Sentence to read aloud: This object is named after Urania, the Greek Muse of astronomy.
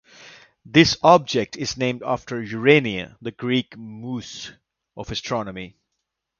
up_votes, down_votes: 2, 0